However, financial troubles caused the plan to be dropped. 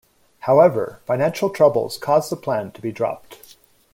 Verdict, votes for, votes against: accepted, 2, 0